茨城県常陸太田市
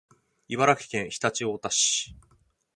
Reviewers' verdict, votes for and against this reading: accepted, 4, 2